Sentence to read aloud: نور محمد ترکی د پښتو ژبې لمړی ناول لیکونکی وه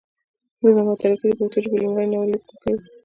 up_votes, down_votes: 0, 2